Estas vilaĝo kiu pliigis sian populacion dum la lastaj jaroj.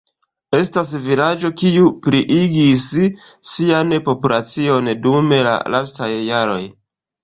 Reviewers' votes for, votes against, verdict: 1, 2, rejected